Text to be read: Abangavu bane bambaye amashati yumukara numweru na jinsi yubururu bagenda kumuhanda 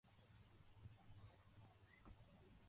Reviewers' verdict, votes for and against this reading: rejected, 0, 2